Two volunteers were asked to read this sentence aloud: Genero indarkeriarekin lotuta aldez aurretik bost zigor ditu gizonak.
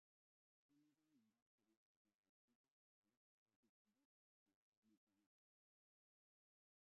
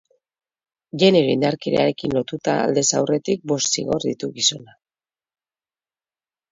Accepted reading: second